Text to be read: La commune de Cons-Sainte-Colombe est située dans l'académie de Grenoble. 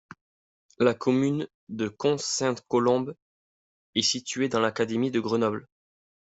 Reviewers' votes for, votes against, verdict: 2, 0, accepted